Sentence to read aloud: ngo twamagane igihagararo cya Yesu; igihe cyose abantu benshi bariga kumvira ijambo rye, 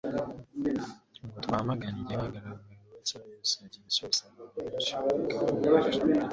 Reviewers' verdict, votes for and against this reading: rejected, 1, 2